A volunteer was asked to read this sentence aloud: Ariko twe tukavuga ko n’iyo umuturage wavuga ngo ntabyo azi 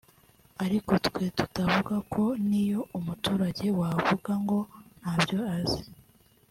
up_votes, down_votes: 0, 2